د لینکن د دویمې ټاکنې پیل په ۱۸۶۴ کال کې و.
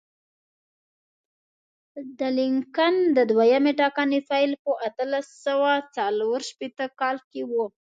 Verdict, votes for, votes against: rejected, 0, 2